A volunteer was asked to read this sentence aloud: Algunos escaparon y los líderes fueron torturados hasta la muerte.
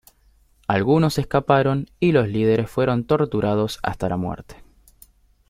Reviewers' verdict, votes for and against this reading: accepted, 2, 0